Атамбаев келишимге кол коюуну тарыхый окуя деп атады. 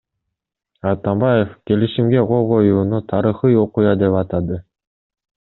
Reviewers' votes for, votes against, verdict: 2, 0, accepted